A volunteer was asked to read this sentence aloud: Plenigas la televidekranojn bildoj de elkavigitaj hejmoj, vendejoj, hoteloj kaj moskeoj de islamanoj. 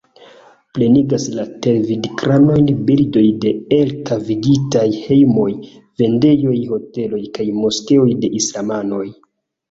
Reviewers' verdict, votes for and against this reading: accepted, 2, 1